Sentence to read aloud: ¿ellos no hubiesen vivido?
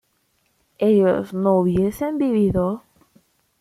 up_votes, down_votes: 2, 0